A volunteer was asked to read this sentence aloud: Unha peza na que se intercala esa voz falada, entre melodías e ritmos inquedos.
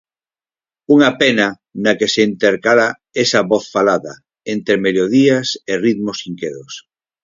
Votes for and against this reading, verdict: 0, 4, rejected